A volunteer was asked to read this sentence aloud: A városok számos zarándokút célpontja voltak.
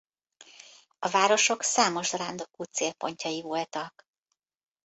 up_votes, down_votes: 0, 2